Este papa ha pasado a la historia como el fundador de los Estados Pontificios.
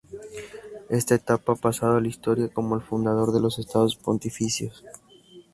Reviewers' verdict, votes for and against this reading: rejected, 0, 2